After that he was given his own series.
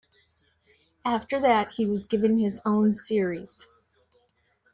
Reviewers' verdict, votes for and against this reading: accepted, 2, 0